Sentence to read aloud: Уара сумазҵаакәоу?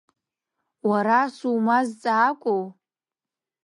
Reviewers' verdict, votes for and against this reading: accepted, 2, 1